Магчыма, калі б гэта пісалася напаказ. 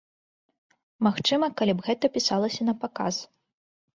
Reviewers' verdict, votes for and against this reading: accepted, 2, 0